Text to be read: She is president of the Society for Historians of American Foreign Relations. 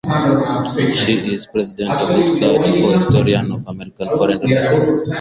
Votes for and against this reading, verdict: 4, 0, accepted